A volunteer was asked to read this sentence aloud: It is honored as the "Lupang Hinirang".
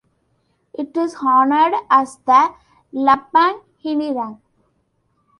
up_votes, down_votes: 0, 2